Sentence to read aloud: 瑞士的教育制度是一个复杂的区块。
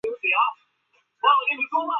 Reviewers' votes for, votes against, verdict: 1, 5, rejected